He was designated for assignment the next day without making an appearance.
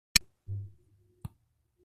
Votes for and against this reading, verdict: 0, 3, rejected